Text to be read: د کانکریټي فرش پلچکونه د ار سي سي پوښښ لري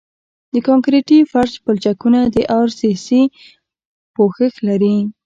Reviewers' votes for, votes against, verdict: 1, 2, rejected